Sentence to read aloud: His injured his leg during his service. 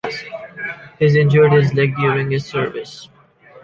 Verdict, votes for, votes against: accepted, 2, 0